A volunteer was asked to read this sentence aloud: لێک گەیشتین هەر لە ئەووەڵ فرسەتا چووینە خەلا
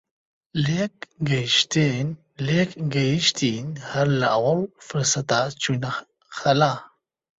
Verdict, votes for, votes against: rejected, 0, 2